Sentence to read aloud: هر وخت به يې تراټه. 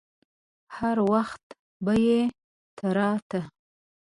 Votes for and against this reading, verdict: 2, 0, accepted